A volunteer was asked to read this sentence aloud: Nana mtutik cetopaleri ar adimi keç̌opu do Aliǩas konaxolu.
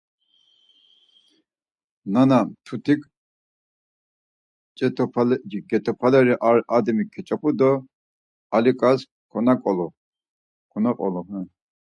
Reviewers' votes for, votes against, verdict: 0, 4, rejected